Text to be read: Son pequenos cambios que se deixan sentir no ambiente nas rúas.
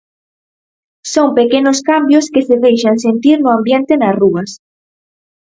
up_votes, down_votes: 6, 0